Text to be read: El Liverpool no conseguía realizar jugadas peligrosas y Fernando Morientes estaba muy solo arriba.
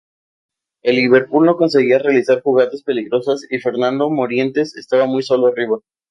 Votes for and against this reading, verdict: 4, 0, accepted